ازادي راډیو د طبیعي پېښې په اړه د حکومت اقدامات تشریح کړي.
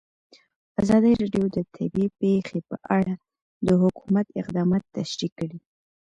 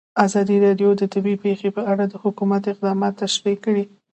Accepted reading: second